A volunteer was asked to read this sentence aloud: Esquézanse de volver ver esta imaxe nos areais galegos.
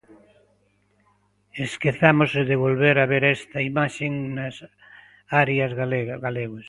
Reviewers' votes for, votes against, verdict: 0, 2, rejected